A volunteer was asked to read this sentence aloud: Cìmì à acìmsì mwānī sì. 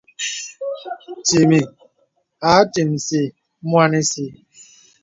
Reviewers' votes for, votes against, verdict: 2, 1, accepted